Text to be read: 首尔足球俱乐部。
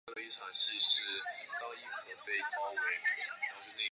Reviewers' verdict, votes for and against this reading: rejected, 1, 2